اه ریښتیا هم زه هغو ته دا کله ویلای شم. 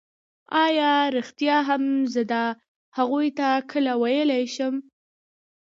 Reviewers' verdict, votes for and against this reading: rejected, 1, 2